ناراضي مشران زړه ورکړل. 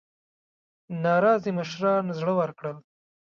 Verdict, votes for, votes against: rejected, 1, 2